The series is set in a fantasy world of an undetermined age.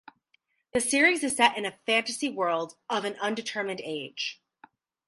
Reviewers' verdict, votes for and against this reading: rejected, 2, 2